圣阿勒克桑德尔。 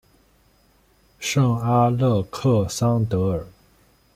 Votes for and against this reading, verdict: 1, 2, rejected